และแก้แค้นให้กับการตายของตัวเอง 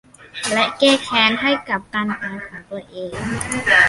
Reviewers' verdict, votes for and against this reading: rejected, 0, 2